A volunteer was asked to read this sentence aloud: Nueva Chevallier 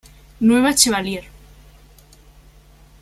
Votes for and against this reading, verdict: 2, 0, accepted